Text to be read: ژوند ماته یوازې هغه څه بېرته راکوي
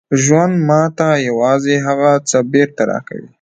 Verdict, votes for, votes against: rejected, 0, 2